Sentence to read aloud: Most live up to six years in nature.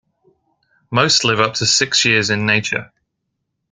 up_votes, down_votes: 2, 0